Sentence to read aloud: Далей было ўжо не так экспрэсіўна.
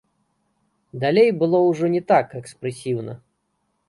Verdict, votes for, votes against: rejected, 0, 3